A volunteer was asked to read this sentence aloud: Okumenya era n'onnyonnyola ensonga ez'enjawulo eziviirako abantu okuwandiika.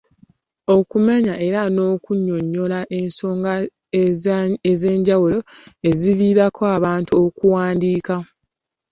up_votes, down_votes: 2, 1